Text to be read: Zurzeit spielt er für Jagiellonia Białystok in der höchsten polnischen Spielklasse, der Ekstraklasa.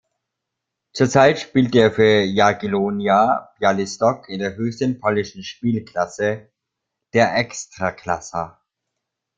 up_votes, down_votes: 0, 2